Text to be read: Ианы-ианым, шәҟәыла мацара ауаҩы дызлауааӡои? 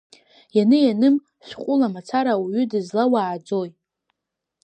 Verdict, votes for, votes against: rejected, 1, 2